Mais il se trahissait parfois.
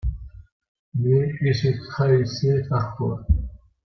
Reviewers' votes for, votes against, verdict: 2, 0, accepted